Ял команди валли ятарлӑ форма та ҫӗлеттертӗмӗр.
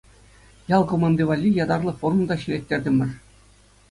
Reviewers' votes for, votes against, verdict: 2, 0, accepted